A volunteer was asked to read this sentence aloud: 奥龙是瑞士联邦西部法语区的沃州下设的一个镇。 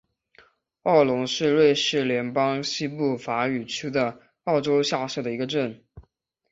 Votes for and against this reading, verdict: 2, 0, accepted